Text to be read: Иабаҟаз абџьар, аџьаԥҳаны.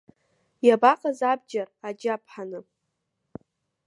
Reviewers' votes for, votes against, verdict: 0, 2, rejected